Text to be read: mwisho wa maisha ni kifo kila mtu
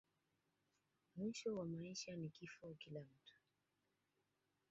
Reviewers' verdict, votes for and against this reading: rejected, 0, 2